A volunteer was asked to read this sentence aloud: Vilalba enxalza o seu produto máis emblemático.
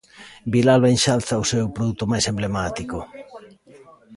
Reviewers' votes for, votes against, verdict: 2, 1, accepted